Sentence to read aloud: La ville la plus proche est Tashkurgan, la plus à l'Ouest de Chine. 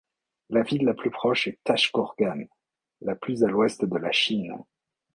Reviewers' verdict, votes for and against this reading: rejected, 0, 2